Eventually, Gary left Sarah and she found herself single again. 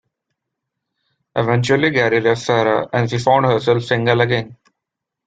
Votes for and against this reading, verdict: 2, 0, accepted